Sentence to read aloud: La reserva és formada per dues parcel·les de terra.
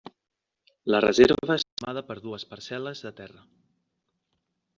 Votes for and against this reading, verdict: 1, 2, rejected